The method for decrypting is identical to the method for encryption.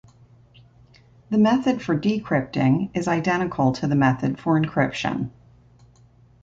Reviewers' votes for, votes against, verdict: 3, 0, accepted